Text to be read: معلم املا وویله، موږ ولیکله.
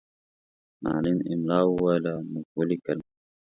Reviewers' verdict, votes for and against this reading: accepted, 2, 0